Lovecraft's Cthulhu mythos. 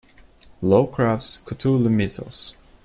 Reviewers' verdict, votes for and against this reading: rejected, 0, 2